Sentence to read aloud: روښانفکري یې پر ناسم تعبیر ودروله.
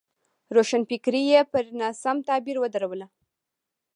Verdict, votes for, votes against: rejected, 0, 2